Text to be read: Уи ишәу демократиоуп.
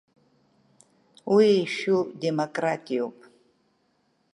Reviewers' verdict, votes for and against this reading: accepted, 2, 0